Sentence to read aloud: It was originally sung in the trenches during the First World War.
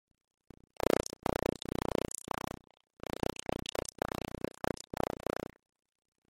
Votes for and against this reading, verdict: 0, 2, rejected